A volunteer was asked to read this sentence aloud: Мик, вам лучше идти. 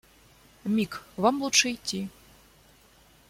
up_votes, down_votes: 2, 0